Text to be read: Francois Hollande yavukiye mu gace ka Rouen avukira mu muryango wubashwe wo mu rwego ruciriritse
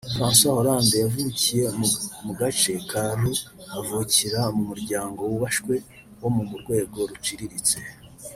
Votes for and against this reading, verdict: 0, 2, rejected